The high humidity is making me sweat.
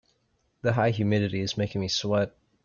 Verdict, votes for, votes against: accepted, 2, 0